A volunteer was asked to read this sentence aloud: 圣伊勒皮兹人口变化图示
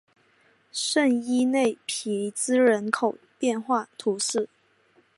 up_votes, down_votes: 2, 2